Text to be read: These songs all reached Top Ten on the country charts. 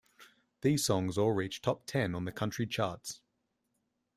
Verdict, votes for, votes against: accepted, 2, 0